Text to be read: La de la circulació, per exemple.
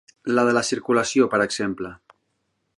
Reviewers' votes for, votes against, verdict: 3, 0, accepted